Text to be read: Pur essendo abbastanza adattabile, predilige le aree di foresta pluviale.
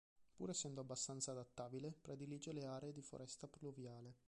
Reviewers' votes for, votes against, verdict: 2, 0, accepted